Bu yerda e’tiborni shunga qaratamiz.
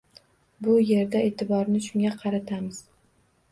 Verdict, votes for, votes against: accepted, 2, 1